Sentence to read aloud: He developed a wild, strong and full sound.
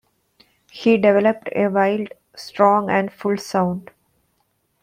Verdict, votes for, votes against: accepted, 2, 0